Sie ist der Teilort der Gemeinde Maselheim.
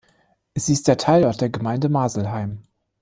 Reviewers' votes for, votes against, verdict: 2, 0, accepted